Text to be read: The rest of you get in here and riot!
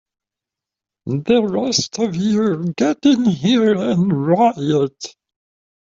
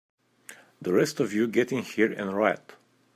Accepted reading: second